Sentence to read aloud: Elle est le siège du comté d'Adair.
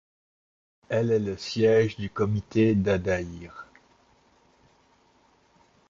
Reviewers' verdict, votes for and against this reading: rejected, 1, 2